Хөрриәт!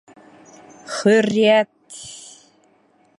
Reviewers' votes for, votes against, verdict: 1, 2, rejected